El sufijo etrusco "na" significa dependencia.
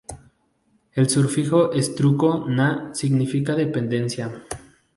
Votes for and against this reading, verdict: 0, 2, rejected